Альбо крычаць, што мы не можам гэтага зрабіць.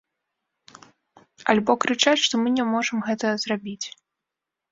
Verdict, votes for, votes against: rejected, 0, 2